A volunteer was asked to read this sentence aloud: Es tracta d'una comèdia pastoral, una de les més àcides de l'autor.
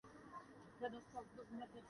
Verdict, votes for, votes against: rejected, 1, 2